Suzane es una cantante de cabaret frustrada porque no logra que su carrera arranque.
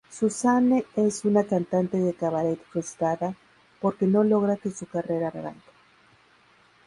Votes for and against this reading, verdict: 4, 4, rejected